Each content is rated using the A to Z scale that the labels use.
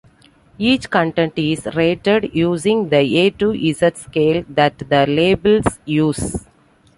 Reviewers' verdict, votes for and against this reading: accepted, 2, 1